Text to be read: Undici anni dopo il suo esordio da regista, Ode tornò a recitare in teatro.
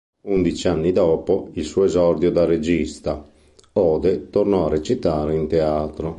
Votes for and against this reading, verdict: 2, 0, accepted